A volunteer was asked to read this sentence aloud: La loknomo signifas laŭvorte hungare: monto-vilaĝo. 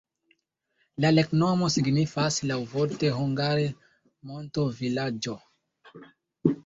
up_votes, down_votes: 2, 1